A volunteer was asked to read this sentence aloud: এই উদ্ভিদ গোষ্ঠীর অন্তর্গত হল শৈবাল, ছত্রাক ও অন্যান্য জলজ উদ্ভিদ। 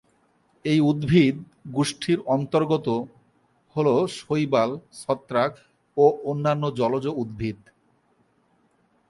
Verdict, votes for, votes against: rejected, 2, 2